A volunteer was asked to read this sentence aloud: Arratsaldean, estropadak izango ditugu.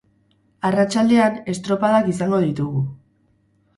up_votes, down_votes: 2, 2